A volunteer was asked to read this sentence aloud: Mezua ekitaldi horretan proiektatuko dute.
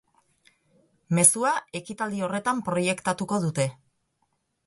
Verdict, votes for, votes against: accepted, 2, 0